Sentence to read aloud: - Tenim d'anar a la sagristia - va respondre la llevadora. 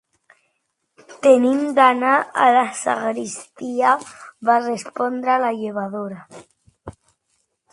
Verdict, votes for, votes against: accepted, 2, 1